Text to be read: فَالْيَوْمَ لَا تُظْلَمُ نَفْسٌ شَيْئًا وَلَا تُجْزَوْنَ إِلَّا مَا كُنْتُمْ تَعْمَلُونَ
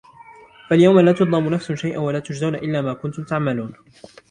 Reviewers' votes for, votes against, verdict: 2, 0, accepted